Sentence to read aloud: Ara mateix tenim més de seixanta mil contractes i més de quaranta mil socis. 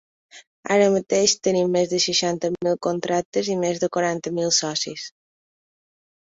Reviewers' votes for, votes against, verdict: 2, 0, accepted